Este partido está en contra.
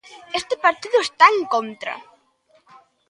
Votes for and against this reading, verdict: 2, 0, accepted